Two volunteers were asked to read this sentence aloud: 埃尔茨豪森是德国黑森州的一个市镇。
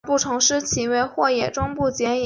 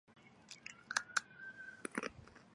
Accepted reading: first